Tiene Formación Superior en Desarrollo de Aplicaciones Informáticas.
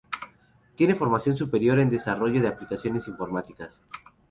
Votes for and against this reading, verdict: 0, 2, rejected